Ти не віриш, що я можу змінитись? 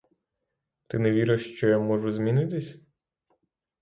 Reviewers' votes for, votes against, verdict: 6, 0, accepted